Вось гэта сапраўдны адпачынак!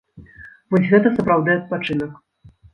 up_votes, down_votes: 1, 2